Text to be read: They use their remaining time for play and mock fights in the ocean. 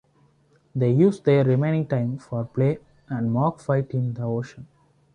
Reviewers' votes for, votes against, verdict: 2, 0, accepted